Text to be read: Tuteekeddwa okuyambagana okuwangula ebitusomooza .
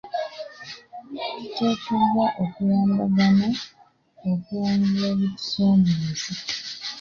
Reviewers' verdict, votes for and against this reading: rejected, 1, 2